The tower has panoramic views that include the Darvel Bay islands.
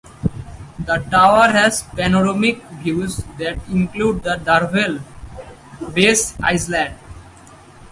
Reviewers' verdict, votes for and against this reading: rejected, 0, 4